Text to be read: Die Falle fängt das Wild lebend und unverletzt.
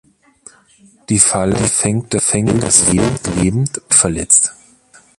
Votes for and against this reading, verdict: 0, 2, rejected